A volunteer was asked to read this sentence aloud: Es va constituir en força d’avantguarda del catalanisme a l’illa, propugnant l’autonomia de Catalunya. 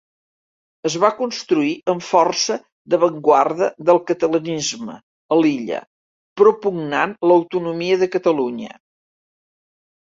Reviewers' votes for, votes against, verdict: 2, 0, accepted